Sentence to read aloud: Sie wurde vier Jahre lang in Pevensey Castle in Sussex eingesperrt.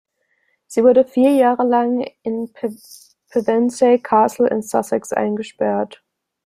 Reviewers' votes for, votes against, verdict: 0, 2, rejected